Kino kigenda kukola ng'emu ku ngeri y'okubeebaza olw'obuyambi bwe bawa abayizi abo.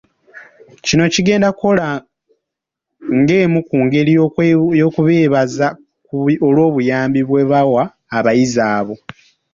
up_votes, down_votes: 0, 2